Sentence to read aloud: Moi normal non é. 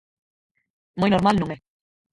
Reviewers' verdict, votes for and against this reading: rejected, 2, 4